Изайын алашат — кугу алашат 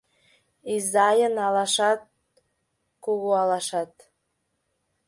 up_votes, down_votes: 2, 0